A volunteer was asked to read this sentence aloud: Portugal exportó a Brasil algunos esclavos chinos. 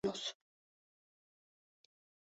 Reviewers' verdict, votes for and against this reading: rejected, 0, 2